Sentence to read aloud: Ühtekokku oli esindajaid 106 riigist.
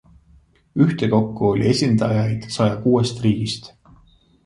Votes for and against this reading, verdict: 0, 2, rejected